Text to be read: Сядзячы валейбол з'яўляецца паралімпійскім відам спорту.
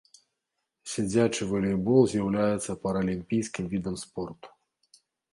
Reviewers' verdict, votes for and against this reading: accepted, 2, 0